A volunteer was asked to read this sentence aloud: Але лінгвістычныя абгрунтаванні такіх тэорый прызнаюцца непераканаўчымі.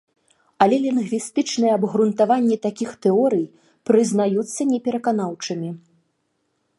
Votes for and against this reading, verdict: 2, 0, accepted